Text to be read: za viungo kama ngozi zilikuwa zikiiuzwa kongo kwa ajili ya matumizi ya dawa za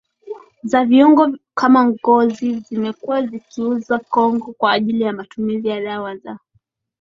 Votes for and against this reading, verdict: 9, 5, accepted